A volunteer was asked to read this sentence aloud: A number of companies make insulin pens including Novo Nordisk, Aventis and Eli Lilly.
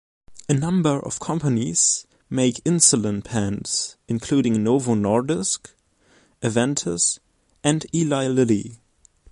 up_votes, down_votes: 2, 0